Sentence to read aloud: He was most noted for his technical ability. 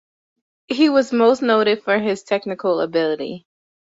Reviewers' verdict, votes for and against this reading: accepted, 2, 0